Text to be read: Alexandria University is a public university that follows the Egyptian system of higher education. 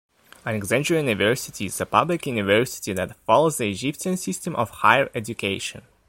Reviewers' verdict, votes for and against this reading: rejected, 0, 2